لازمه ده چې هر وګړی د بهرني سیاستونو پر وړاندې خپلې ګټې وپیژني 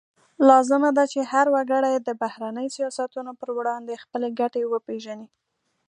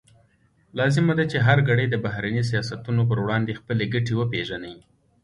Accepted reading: first